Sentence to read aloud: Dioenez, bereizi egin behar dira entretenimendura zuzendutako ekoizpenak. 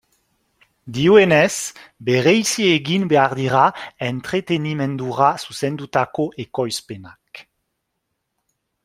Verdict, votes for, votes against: accepted, 3, 1